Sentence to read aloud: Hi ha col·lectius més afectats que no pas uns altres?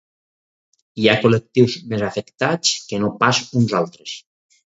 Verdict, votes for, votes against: rejected, 2, 4